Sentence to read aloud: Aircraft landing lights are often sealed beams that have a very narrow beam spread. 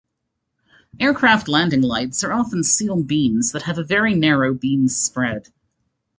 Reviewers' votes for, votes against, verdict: 2, 0, accepted